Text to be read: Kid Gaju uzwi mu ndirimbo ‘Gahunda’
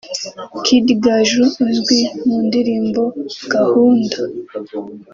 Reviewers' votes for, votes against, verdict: 2, 0, accepted